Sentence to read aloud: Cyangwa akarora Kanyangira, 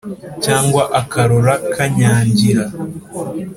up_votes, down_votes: 2, 0